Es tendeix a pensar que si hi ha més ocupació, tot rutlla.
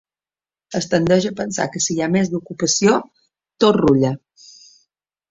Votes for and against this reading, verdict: 3, 0, accepted